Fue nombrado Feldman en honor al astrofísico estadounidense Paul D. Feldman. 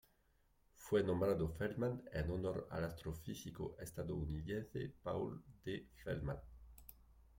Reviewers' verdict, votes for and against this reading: accepted, 2, 1